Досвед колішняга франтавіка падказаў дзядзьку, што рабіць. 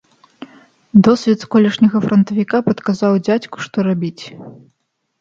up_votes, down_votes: 3, 1